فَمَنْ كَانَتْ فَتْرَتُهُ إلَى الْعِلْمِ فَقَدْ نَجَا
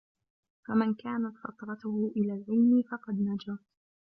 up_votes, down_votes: 1, 2